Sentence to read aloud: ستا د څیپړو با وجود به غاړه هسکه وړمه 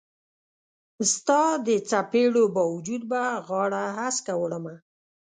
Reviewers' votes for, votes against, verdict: 2, 0, accepted